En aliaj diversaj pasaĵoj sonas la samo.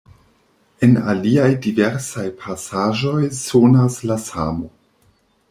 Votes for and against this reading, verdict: 2, 0, accepted